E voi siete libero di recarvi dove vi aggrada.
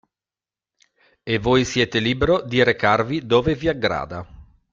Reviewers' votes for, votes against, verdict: 2, 0, accepted